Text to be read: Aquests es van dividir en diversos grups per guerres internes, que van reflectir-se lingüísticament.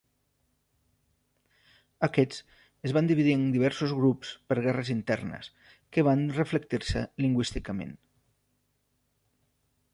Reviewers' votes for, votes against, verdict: 3, 0, accepted